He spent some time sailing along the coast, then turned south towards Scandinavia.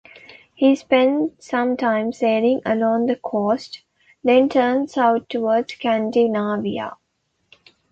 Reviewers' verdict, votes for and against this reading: rejected, 1, 2